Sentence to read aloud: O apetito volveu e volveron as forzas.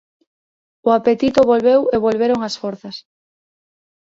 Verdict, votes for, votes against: accepted, 3, 0